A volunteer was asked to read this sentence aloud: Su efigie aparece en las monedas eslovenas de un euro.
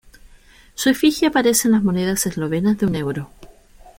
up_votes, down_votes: 2, 0